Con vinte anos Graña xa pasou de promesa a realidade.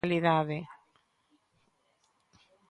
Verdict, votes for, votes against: rejected, 0, 3